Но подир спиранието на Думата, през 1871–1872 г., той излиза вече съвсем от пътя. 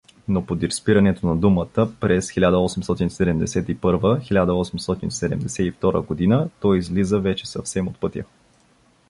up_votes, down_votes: 0, 2